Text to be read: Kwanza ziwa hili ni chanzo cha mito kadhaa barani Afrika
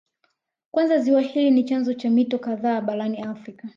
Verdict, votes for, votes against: accepted, 2, 0